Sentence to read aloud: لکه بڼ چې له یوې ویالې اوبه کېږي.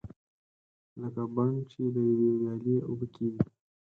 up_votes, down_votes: 0, 4